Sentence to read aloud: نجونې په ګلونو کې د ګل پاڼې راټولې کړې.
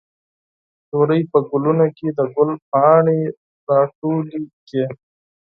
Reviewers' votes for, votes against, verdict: 0, 4, rejected